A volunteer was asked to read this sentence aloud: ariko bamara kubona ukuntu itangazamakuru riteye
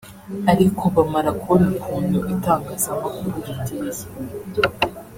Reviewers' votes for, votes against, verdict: 1, 2, rejected